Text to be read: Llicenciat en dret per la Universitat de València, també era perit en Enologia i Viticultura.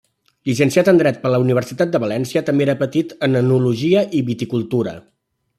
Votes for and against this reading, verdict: 0, 2, rejected